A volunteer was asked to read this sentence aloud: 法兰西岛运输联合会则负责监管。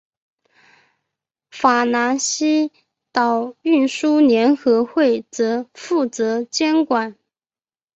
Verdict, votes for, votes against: accepted, 3, 0